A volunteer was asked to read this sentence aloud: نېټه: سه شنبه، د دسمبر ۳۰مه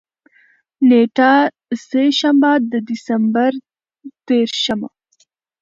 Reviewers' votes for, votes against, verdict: 0, 2, rejected